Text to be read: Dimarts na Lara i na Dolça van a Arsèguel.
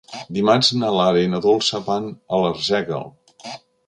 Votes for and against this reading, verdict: 0, 2, rejected